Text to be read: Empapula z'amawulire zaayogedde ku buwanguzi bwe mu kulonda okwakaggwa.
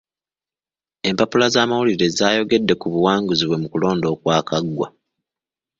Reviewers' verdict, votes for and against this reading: accepted, 2, 0